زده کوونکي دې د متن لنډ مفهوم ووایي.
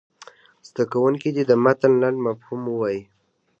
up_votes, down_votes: 0, 2